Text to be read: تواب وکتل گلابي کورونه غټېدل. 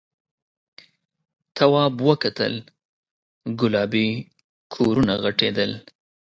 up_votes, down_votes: 2, 0